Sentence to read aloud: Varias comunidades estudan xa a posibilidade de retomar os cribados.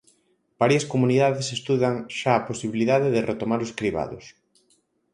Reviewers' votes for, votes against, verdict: 4, 0, accepted